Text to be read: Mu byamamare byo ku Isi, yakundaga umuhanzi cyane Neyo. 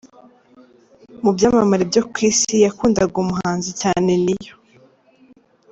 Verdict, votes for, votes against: accepted, 2, 0